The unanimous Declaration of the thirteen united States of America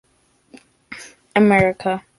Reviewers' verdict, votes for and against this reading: rejected, 0, 2